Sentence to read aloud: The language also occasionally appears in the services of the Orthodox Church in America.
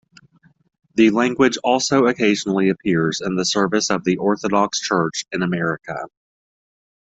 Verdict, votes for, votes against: accepted, 2, 1